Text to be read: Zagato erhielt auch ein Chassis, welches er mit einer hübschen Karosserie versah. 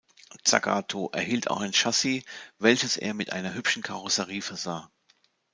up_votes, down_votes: 2, 0